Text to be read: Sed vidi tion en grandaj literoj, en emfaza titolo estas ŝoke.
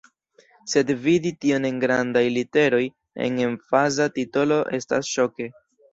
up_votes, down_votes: 2, 0